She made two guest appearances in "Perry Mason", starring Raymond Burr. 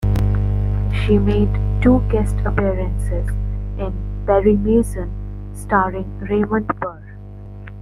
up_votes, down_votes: 2, 1